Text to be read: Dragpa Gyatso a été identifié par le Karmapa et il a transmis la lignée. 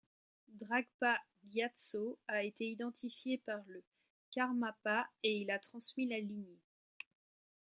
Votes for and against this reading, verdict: 2, 1, accepted